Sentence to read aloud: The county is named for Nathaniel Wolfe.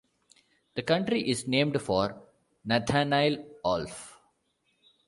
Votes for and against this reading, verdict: 1, 2, rejected